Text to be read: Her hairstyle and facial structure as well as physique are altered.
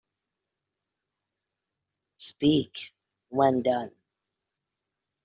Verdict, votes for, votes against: rejected, 0, 2